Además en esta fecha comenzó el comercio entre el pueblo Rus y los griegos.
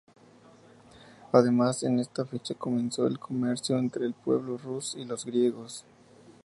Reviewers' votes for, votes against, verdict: 2, 0, accepted